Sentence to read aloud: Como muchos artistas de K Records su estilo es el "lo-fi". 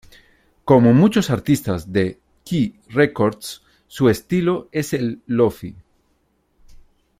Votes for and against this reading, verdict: 1, 2, rejected